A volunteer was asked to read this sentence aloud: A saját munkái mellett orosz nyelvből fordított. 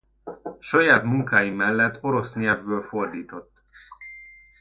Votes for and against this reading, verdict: 0, 2, rejected